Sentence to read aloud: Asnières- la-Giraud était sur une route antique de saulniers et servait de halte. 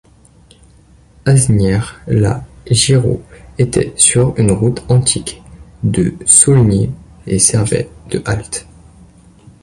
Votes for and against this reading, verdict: 0, 2, rejected